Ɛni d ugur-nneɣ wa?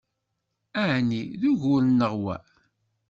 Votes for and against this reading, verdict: 2, 0, accepted